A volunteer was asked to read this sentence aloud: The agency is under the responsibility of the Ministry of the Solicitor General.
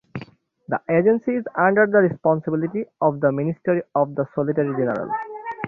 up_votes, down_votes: 3, 3